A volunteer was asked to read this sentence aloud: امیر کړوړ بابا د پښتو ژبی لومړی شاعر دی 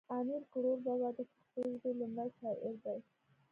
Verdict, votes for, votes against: accepted, 2, 0